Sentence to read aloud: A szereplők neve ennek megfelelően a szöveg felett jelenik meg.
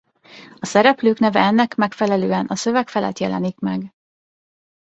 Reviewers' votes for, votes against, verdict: 2, 0, accepted